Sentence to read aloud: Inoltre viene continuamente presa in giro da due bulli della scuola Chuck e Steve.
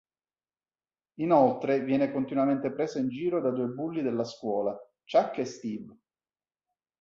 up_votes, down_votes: 2, 0